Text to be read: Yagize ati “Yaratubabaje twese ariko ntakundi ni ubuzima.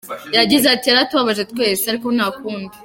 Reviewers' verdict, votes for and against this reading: rejected, 0, 3